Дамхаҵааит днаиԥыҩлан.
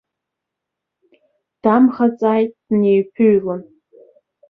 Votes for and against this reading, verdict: 1, 2, rejected